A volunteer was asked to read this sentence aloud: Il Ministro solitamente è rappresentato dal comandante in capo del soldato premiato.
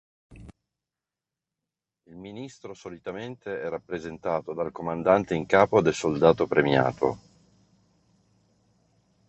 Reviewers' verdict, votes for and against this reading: accepted, 2, 0